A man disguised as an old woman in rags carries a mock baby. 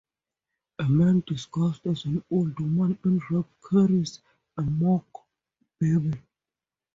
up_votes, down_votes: 0, 2